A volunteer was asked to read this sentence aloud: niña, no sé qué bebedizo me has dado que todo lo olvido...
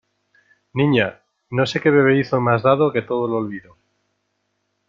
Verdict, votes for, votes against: accepted, 2, 0